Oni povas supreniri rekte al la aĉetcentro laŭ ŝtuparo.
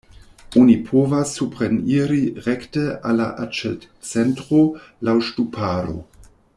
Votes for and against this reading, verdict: 0, 2, rejected